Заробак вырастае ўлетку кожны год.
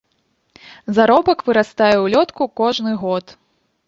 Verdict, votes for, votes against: rejected, 0, 2